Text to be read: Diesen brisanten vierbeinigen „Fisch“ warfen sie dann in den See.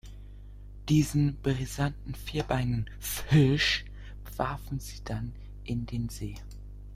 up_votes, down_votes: 0, 2